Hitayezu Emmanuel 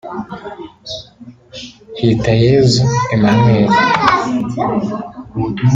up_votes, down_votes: 2, 0